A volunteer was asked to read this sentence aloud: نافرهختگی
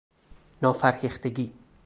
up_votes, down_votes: 2, 2